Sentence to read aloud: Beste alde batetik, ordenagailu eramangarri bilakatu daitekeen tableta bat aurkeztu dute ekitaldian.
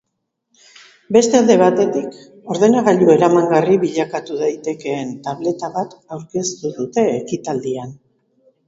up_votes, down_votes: 2, 0